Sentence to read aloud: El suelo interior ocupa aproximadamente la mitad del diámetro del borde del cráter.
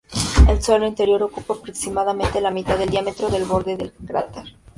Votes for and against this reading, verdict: 0, 2, rejected